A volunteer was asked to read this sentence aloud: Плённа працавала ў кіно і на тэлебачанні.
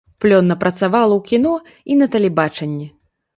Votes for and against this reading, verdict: 4, 0, accepted